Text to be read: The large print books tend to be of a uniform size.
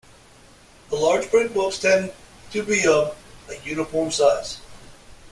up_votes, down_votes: 2, 1